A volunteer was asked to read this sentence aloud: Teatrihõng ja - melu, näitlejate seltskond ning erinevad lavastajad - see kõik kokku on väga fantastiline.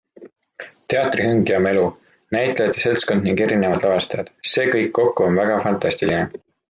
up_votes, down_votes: 2, 0